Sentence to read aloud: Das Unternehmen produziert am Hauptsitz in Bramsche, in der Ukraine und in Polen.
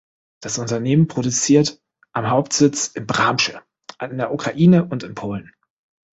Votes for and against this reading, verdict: 1, 4, rejected